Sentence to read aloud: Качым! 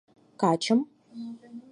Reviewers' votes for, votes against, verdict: 4, 0, accepted